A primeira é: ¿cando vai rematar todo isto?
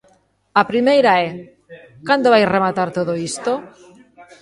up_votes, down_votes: 0, 2